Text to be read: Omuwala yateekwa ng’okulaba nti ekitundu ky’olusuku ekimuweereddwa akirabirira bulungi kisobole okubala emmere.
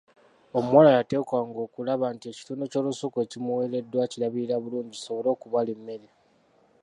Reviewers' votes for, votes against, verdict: 2, 0, accepted